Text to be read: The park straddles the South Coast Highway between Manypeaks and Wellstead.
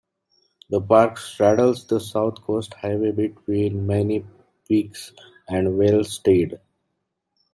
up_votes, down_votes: 0, 2